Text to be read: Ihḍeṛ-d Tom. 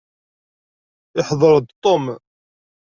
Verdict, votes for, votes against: rejected, 0, 2